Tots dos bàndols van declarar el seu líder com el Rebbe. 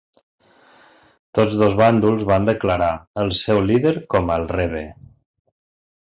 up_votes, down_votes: 2, 0